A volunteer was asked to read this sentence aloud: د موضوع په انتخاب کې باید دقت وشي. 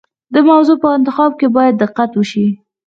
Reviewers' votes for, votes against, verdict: 0, 4, rejected